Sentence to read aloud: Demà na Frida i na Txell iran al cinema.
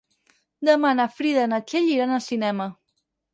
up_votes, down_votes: 4, 0